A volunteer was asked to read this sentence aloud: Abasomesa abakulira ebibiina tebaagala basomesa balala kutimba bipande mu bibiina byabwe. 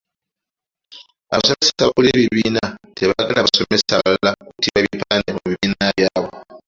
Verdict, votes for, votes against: rejected, 1, 2